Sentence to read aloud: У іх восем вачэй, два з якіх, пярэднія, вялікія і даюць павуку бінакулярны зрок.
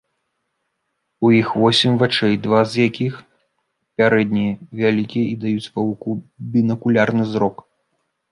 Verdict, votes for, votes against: rejected, 0, 2